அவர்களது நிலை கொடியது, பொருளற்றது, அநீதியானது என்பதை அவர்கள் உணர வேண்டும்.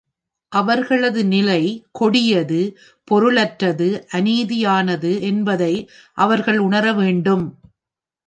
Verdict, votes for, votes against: accepted, 2, 0